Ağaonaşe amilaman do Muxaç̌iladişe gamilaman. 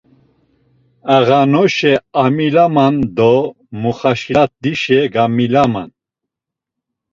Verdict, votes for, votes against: rejected, 0, 2